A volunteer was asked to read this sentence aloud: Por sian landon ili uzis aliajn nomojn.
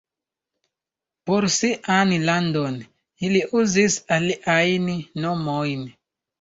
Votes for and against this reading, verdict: 2, 1, accepted